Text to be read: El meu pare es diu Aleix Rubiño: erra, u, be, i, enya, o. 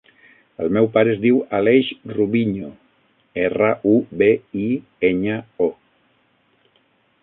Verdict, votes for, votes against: rejected, 3, 6